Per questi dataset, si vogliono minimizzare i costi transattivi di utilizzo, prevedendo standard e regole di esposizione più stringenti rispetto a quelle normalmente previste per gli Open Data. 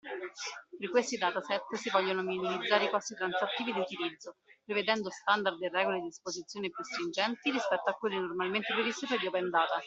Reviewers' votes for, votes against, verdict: 2, 1, accepted